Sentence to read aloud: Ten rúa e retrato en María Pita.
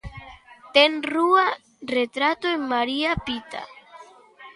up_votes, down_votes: 0, 2